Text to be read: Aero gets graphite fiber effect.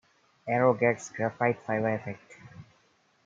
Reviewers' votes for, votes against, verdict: 2, 0, accepted